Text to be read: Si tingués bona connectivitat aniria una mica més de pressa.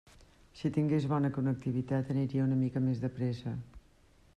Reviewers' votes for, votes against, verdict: 1, 2, rejected